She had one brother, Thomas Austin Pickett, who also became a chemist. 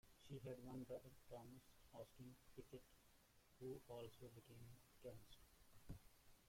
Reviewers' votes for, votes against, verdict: 0, 2, rejected